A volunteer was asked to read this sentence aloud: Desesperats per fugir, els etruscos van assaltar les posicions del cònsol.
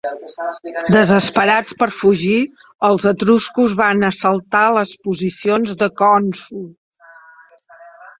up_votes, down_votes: 0, 4